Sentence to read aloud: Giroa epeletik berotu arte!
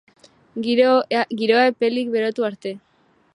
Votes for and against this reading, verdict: 0, 2, rejected